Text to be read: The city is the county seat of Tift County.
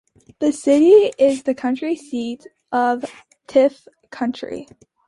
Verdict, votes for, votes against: accepted, 2, 1